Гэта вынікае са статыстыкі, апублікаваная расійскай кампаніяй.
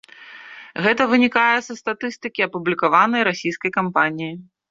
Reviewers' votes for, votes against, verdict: 2, 1, accepted